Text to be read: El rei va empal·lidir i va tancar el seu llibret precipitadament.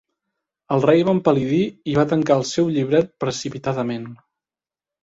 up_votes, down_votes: 2, 0